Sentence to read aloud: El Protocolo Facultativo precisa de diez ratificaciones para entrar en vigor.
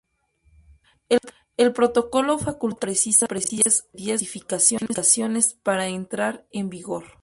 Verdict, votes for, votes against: rejected, 2, 2